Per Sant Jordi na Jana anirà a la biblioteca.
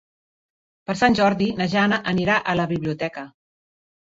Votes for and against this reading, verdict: 3, 1, accepted